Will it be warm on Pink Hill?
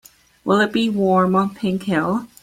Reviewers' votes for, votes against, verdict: 2, 0, accepted